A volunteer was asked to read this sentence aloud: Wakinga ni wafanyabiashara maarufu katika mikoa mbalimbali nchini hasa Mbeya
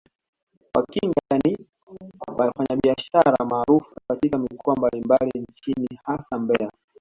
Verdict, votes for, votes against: rejected, 0, 2